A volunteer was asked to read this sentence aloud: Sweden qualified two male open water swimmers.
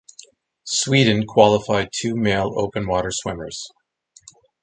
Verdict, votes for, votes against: accepted, 4, 0